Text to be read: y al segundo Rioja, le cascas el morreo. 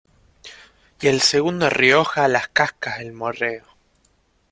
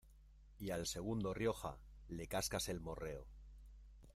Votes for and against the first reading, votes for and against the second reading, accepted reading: 0, 2, 2, 0, second